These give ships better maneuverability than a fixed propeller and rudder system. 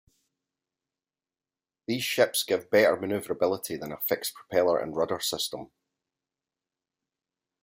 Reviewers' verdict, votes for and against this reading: rejected, 0, 2